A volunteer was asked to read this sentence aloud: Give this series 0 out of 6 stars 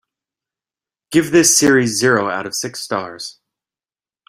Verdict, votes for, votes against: rejected, 0, 2